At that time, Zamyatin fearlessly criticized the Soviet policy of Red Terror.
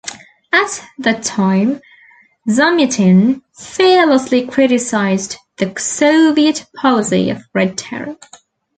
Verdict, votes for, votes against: rejected, 0, 2